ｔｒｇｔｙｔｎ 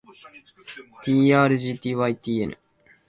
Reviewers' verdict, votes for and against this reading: accepted, 3, 0